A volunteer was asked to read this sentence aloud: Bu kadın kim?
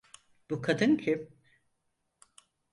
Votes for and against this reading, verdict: 4, 0, accepted